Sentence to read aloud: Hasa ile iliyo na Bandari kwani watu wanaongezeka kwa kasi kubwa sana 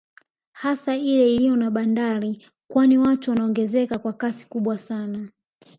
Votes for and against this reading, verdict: 1, 2, rejected